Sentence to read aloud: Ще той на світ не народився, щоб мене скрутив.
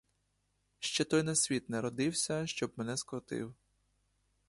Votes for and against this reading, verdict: 1, 2, rejected